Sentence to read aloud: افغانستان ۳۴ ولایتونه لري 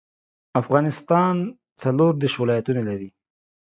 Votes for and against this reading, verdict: 0, 2, rejected